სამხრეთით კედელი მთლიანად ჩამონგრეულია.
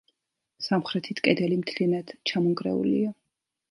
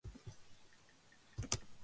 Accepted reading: first